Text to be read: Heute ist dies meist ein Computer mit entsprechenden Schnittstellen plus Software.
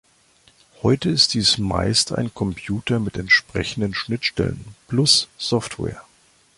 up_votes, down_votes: 2, 0